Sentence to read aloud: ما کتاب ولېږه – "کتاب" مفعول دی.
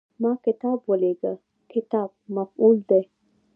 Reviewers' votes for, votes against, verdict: 1, 2, rejected